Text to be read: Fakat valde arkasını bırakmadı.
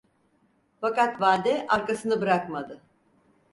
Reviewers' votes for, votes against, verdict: 4, 0, accepted